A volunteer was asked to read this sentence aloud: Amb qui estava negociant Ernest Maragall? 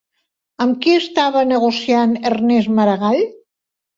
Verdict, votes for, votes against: accepted, 3, 0